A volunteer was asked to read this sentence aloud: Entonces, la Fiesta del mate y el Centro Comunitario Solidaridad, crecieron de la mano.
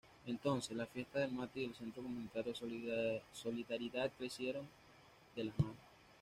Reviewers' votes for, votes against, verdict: 1, 2, rejected